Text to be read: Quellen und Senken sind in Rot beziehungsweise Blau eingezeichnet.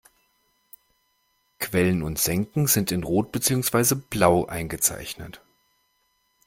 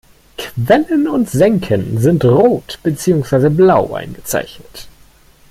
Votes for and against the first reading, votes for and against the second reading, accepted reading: 2, 0, 0, 2, first